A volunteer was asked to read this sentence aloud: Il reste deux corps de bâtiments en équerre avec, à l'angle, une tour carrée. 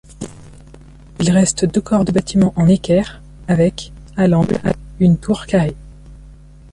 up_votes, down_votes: 0, 2